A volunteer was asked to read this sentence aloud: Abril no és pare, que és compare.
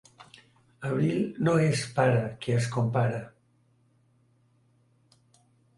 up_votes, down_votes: 2, 0